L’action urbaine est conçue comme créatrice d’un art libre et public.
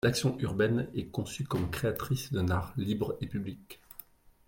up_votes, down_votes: 2, 0